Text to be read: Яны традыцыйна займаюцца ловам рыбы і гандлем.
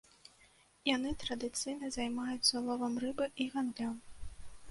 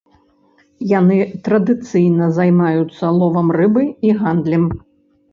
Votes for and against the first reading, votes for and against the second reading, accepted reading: 0, 2, 2, 0, second